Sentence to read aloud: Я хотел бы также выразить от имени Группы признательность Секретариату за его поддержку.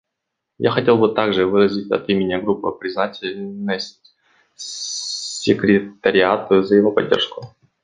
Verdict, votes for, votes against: accepted, 2, 1